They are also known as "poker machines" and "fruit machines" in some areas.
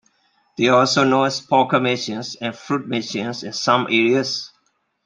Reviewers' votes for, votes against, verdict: 2, 0, accepted